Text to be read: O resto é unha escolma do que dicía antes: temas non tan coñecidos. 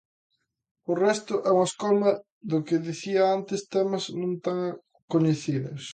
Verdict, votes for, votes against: accepted, 2, 1